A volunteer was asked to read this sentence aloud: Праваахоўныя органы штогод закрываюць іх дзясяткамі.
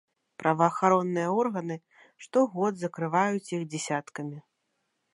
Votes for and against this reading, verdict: 0, 2, rejected